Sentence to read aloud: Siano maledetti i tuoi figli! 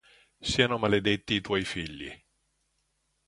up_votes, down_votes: 2, 0